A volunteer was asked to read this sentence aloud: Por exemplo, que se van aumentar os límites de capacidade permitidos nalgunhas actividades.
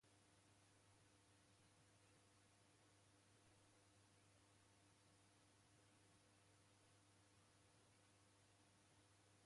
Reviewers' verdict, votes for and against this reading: rejected, 0, 2